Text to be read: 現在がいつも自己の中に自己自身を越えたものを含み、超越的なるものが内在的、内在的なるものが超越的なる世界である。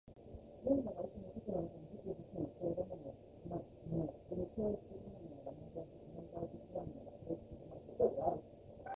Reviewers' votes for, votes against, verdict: 0, 2, rejected